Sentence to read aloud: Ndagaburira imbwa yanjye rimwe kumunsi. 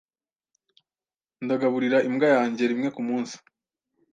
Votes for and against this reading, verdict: 2, 0, accepted